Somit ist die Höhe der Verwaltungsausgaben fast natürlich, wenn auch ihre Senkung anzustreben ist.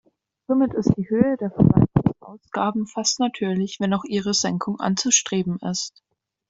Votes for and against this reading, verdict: 1, 2, rejected